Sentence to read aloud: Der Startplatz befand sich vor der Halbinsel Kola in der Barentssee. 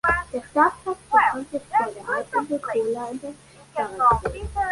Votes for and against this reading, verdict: 1, 2, rejected